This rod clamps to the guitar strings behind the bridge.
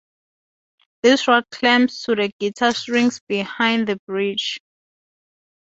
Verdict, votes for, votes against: accepted, 4, 0